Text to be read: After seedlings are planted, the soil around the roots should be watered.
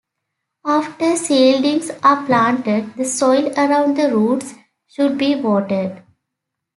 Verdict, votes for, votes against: accepted, 2, 0